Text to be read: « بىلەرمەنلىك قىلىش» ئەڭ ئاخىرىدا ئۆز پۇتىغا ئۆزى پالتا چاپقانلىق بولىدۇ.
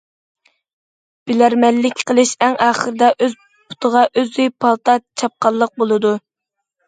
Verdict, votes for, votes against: accepted, 2, 0